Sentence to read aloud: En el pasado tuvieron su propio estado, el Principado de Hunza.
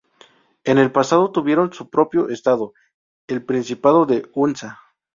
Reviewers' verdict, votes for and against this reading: accepted, 2, 0